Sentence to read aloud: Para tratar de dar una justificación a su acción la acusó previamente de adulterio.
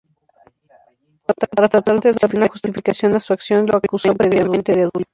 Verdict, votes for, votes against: rejected, 0, 4